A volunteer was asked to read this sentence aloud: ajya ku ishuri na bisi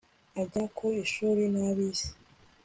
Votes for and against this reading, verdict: 2, 0, accepted